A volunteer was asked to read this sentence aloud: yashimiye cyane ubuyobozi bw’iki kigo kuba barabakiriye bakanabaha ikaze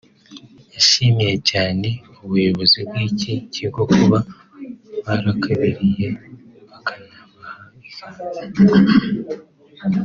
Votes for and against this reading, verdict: 0, 2, rejected